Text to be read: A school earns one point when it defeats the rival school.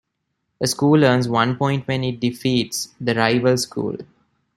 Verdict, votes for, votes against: rejected, 1, 2